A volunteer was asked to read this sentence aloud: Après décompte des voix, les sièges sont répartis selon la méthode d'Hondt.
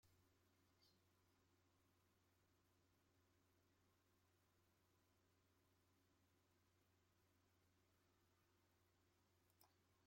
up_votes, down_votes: 0, 2